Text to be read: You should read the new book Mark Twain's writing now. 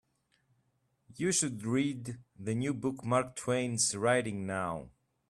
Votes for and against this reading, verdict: 2, 1, accepted